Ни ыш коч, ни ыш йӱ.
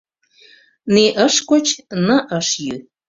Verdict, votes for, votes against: rejected, 1, 2